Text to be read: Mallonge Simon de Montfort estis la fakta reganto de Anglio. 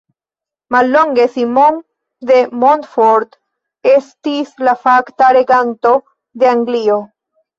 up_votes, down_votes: 0, 2